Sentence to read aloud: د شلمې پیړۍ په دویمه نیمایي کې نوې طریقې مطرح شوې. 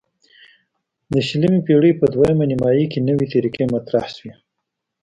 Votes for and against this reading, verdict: 2, 0, accepted